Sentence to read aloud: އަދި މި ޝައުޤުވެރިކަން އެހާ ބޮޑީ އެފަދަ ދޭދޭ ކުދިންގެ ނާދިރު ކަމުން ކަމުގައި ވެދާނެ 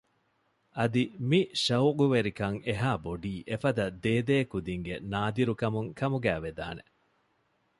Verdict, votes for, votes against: accepted, 2, 0